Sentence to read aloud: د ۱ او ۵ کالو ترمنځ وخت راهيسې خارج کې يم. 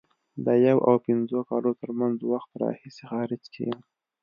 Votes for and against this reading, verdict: 0, 2, rejected